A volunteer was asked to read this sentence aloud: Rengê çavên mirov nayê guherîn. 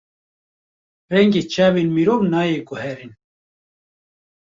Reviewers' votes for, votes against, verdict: 2, 1, accepted